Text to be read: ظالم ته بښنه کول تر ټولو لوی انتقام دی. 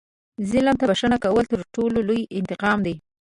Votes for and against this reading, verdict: 1, 2, rejected